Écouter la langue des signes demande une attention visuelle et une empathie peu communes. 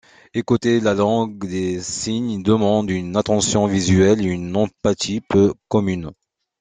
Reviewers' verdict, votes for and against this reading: accepted, 2, 0